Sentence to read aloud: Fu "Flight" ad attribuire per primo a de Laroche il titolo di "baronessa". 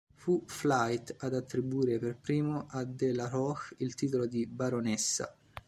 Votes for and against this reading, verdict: 1, 2, rejected